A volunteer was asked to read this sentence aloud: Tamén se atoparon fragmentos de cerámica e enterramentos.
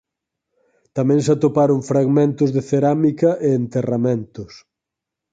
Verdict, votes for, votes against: accepted, 4, 0